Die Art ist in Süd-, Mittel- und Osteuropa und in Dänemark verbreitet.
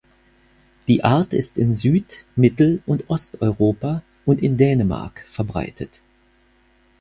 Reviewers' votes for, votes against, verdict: 4, 0, accepted